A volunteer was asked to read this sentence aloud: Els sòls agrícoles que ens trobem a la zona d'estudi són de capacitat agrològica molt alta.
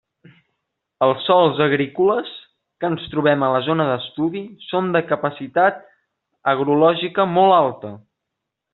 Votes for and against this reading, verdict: 3, 0, accepted